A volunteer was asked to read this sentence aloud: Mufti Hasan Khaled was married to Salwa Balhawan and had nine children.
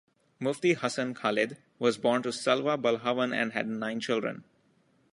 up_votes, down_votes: 0, 2